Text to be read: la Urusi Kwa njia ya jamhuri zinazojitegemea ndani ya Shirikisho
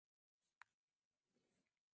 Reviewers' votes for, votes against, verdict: 0, 2, rejected